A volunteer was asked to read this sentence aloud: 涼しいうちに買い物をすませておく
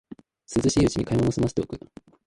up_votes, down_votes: 0, 2